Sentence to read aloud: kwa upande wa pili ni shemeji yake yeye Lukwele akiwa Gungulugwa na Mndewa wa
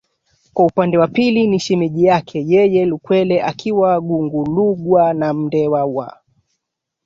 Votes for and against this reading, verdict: 2, 1, accepted